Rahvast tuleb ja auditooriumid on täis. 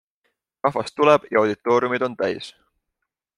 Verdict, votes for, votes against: accepted, 2, 0